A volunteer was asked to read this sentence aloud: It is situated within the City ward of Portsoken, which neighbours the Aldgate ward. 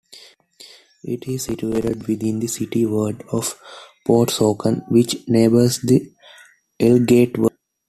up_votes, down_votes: 1, 2